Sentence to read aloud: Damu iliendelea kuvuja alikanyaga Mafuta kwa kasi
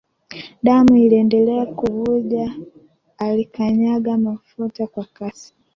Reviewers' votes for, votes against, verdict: 2, 1, accepted